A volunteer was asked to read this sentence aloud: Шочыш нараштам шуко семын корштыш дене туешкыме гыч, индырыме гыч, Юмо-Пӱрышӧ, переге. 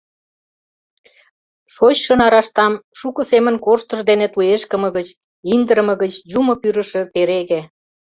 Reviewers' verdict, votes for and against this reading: rejected, 0, 2